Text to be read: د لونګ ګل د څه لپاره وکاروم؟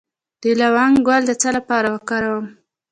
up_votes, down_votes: 2, 1